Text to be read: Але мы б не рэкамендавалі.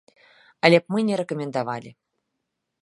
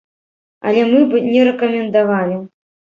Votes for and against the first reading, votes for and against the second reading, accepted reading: 0, 2, 2, 0, second